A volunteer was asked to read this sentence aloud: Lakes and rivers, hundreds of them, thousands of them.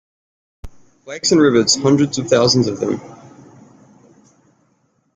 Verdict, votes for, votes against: rejected, 0, 2